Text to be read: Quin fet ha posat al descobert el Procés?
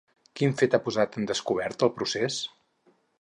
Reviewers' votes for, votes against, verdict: 2, 2, rejected